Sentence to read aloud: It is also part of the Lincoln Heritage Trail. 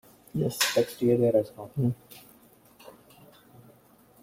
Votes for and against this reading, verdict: 0, 2, rejected